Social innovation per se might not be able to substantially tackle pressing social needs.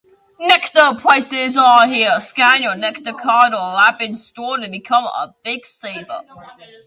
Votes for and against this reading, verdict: 0, 2, rejected